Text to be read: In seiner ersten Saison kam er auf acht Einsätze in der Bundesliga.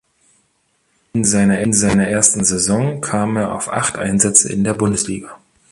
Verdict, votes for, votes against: rejected, 0, 2